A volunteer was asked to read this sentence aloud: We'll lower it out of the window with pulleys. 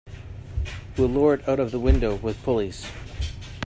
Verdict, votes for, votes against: rejected, 1, 2